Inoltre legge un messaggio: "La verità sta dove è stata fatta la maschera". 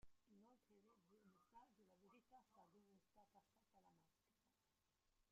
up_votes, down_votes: 0, 2